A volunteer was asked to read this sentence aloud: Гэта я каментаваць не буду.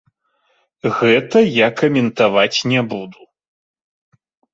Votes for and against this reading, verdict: 2, 0, accepted